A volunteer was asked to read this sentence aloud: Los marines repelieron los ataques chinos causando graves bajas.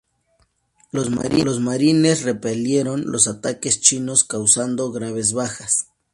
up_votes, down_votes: 0, 2